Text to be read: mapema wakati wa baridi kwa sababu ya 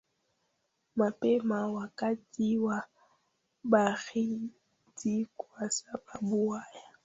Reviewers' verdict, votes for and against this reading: rejected, 0, 2